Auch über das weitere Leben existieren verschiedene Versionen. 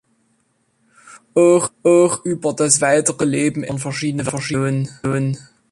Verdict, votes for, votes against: rejected, 0, 3